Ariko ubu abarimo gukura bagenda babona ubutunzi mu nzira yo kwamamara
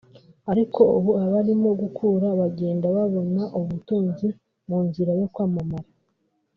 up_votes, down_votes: 1, 2